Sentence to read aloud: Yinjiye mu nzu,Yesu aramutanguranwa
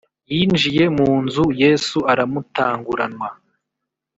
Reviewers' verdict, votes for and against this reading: accepted, 3, 0